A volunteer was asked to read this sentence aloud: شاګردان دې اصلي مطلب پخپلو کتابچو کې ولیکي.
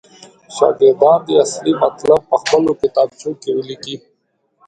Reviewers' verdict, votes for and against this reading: accepted, 2, 0